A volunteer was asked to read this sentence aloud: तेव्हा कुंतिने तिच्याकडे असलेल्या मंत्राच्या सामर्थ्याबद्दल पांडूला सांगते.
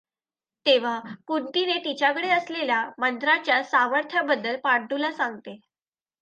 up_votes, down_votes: 2, 0